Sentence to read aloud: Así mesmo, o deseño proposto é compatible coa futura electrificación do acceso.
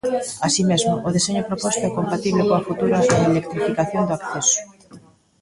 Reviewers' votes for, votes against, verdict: 0, 2, rejected